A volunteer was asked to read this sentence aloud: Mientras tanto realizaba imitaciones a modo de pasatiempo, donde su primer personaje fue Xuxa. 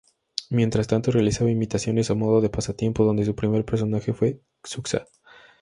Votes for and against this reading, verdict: 2, 0, accepted